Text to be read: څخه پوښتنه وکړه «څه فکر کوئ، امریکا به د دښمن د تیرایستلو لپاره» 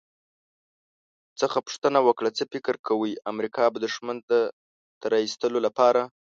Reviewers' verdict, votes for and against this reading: rejected, 2, 3